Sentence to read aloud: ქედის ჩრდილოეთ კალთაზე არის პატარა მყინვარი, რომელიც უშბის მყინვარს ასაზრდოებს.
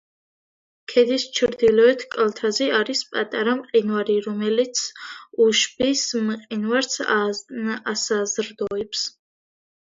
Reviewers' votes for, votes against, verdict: 2, 0, accepted